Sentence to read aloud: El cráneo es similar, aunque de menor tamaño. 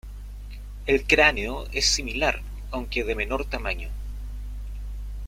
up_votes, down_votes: 2, 1